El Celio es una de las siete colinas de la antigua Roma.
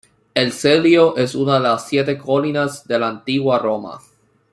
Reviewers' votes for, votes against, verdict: 0, 2, rejected